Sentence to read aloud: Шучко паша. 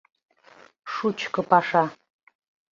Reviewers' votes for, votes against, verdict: 2, 0, accepted